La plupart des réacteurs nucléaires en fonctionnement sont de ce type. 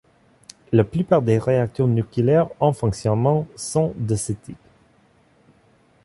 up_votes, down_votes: 2, 0